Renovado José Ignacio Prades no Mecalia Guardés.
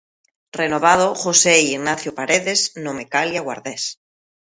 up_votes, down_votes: 0, 2